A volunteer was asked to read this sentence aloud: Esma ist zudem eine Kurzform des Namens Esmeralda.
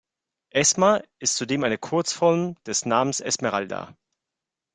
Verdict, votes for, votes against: accepted, 3, 0